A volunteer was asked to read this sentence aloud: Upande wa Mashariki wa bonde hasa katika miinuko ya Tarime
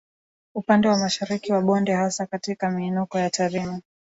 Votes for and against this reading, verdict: 1, 2, rejected